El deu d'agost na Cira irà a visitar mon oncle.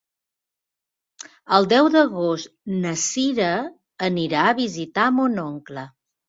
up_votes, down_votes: 1, 2